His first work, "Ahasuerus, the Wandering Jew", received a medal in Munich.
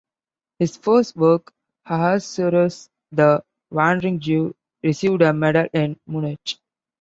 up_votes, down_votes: 2, 0